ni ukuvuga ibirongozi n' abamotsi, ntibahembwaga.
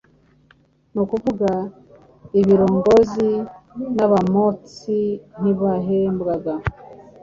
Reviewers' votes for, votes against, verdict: 2, 0, accepted